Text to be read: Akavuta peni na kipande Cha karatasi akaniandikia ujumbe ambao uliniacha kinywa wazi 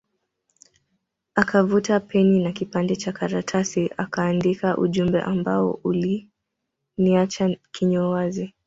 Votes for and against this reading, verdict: 1, 2, rejected